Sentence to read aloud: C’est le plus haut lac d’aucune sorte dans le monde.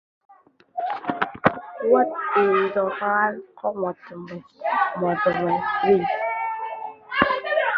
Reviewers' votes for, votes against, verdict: 0, 2, rejected